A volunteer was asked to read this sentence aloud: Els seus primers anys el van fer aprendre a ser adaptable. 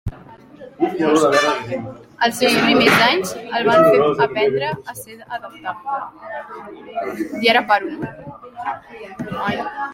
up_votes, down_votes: 0, 2